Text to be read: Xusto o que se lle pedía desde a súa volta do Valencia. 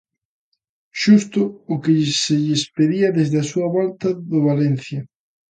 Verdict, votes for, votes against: rejected, 0, 2